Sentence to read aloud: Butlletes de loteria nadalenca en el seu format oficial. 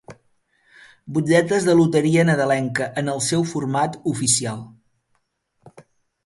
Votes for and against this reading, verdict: 2, 0, accepted